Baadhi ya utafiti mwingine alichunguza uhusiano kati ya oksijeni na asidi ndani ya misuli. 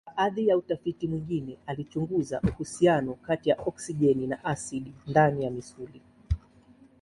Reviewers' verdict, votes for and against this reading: accepted, 2, 1